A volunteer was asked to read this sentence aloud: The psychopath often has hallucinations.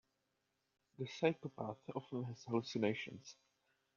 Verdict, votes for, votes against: rejected, 1, 2